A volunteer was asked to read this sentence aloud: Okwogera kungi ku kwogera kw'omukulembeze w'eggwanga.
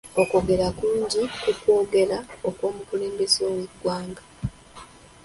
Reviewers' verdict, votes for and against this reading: rejected, 1, 2